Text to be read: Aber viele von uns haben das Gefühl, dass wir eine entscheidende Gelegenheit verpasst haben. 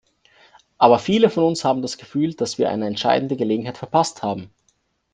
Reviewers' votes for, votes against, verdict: 2, 0, accepted